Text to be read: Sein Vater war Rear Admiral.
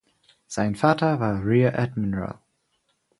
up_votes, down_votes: 4, 0